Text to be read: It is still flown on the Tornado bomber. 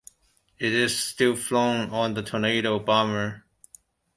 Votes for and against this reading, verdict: 2, 1, accepted